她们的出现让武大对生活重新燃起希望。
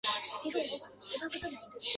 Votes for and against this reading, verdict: 0, 2, rejected